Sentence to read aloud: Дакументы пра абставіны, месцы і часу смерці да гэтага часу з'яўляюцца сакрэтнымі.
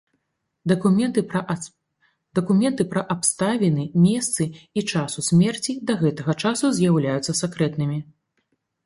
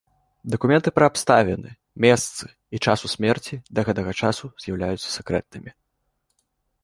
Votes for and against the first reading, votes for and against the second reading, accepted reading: 0, 2, 2, 0, second